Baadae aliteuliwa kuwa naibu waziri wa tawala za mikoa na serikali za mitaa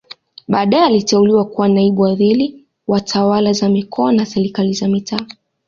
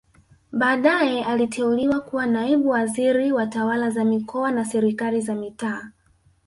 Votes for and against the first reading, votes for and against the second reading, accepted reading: 2, 0, 0, 2, first